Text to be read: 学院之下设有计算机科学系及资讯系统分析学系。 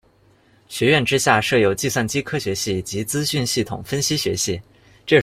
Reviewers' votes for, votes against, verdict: 0, 2, rejected